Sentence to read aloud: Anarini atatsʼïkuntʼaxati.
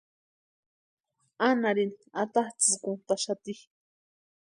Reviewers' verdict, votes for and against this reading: accepted, 2, 0